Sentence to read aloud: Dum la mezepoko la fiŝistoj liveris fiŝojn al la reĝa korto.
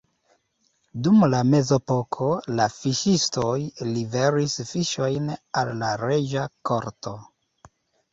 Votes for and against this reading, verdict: 0, 2, rejected